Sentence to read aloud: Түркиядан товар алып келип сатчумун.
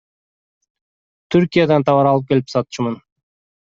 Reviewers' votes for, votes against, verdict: 2, 0, accepted